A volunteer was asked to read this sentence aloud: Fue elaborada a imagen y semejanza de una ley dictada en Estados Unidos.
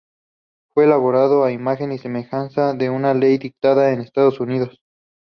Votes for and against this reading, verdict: 0, 2, rejected